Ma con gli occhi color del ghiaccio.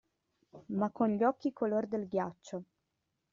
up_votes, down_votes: 2, 0